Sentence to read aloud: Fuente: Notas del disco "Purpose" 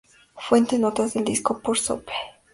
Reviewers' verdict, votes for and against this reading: rejected, 0, 2